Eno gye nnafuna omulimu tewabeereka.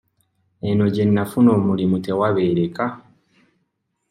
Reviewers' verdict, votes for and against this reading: accepted, 2, 0